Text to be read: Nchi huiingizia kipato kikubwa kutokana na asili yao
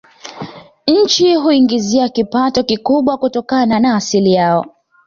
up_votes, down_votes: 2, 1